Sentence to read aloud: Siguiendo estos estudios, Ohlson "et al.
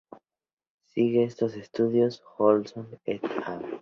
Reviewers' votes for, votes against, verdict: 2, 4, rejected